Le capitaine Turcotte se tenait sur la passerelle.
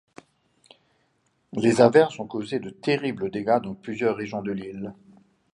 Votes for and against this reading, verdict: 0, 2, rejected